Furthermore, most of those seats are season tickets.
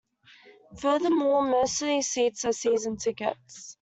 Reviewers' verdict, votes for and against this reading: accepted, 2, 0